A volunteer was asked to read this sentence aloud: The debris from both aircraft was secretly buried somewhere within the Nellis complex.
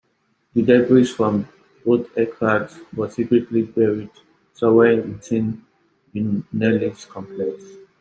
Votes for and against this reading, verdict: 1, 2, rejected